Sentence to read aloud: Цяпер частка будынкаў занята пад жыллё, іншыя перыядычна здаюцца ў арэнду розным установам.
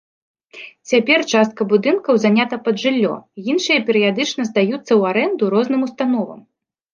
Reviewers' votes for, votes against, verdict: 2, 0, accepted